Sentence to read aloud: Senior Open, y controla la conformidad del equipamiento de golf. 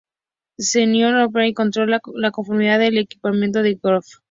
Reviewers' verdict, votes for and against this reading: rejected, 0, 2